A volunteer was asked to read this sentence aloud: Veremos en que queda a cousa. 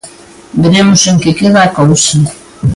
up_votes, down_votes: 2, 0